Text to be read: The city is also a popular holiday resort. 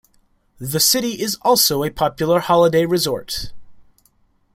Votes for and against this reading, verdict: 1, 2, rejected